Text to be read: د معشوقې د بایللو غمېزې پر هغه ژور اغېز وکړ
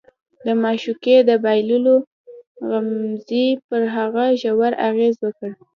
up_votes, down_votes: 2, 0